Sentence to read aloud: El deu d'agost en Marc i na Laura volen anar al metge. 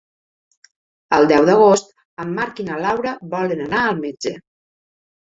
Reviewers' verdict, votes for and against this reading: accepted, 4, 0